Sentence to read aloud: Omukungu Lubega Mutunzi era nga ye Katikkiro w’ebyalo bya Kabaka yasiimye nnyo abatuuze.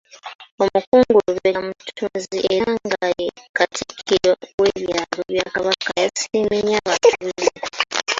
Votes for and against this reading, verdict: 0, 2, rejected